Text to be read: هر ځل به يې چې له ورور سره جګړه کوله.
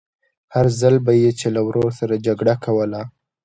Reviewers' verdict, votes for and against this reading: accepted, 2, 0